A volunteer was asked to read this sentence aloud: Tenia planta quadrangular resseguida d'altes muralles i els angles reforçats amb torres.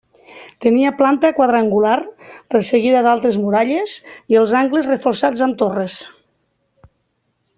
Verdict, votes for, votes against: accepted, 2, 0